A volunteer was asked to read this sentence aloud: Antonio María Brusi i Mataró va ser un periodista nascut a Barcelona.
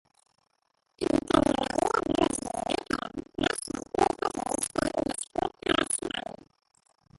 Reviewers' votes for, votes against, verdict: 0, 2, rejected